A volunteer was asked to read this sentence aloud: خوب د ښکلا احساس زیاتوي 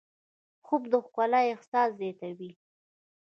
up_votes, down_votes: 2, 0